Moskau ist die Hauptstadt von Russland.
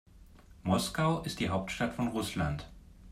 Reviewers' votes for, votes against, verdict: 2, 0, accepted